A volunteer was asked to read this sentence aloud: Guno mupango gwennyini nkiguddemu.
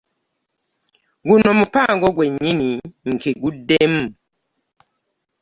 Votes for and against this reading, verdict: 2, 0, accepted